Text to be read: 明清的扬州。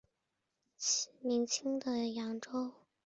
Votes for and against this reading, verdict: 5, 0, accepted